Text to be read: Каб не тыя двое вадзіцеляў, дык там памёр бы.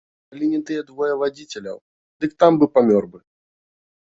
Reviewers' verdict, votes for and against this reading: rejected, 1, 2